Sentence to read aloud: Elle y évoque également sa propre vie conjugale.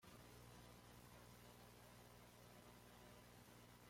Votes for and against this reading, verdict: 1, 2, rejected